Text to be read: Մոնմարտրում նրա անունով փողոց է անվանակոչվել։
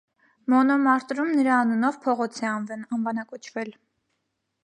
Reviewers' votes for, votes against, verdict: 1, 2, rejected